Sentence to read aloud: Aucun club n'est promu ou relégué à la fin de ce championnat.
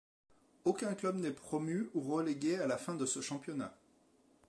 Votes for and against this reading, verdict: 2, 0, accepted